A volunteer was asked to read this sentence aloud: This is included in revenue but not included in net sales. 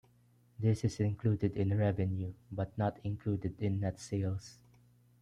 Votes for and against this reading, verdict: 2, 0, accepted